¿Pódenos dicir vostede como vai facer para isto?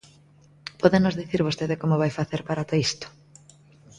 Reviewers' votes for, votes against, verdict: 0, 2, rejected